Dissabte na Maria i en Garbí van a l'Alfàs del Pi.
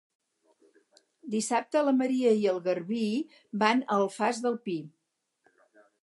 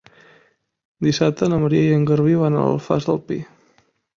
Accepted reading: second